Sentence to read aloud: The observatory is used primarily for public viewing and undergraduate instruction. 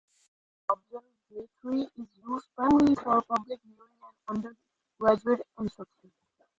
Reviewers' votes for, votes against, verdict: 0, 2, rejected